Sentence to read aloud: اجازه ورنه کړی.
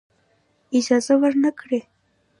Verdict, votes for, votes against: accepted, 2, 0